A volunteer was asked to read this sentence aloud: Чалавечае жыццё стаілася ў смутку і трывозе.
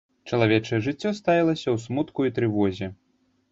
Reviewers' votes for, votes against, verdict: 0, 2, rejected